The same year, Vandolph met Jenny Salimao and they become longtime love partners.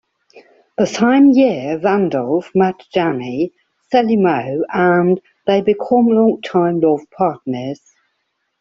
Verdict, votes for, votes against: accepted, 2, 0